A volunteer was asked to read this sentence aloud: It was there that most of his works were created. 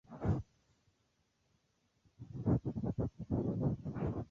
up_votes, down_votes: 0, 2